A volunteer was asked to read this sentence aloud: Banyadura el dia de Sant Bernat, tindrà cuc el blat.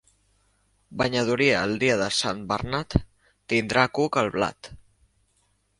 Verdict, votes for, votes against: rejected, 1, 2